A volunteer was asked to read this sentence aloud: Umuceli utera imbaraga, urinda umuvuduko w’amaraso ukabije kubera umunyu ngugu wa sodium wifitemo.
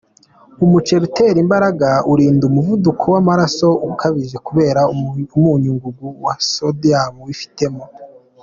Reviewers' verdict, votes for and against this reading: accepted, 2, 1